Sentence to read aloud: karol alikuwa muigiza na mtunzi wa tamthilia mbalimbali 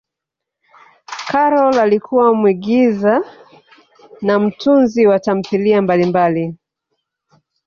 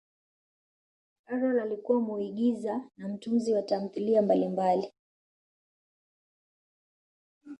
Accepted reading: second